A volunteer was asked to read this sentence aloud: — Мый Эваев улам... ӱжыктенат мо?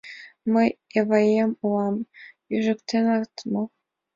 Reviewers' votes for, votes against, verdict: 1, 3, rejected